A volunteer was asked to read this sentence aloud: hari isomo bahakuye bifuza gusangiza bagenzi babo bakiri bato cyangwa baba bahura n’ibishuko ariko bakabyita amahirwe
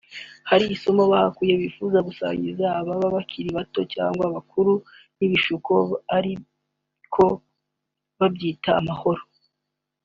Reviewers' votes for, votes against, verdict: 2, 3, rejected